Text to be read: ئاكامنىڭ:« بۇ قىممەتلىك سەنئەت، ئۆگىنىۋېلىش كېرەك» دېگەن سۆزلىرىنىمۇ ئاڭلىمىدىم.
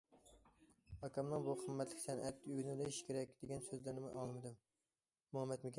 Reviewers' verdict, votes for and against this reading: rejected, 0, 2